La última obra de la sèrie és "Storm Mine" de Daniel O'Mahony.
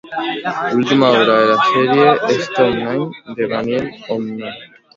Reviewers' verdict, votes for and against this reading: rejected, 0, 2